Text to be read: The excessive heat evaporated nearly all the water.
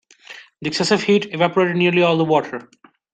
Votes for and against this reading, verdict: 2, 0, accepted